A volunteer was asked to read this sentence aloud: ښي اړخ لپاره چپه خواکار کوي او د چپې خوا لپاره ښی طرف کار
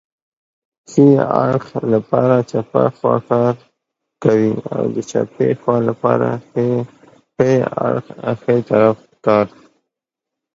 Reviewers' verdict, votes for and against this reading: rejected, 1, 2